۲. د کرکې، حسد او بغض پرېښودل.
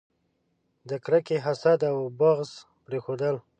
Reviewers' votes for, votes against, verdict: 0, 2, rejected